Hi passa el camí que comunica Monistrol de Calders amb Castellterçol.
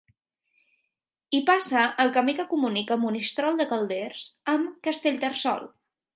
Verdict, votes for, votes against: accepted, 2, 0